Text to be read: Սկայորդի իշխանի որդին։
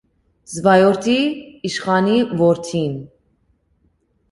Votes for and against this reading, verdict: 2, 0, accepted